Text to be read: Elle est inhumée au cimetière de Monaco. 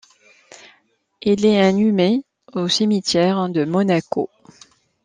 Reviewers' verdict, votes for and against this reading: accepted, 2, 1